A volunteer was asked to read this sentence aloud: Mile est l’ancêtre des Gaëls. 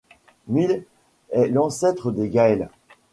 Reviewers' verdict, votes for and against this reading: rejected, 1, 2